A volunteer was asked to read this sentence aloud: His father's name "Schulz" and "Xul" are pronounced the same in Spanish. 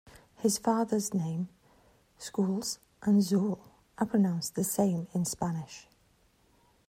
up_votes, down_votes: 1, 2